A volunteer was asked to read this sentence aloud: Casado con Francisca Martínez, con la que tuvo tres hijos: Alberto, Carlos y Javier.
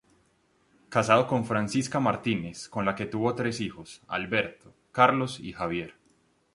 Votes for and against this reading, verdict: 2, 0, accepted